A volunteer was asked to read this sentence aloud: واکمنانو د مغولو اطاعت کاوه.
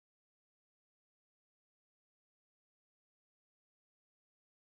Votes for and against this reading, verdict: 1, 2, rejected